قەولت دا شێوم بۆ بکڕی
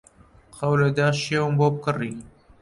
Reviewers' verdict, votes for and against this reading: rejected, 1, 2